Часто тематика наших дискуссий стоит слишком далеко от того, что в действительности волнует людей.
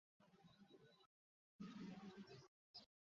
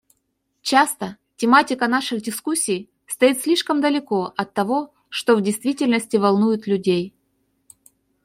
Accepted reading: second